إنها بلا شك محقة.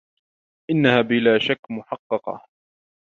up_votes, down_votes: 1, 3